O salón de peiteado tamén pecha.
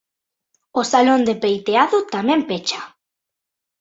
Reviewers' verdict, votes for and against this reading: accepted, 2, 0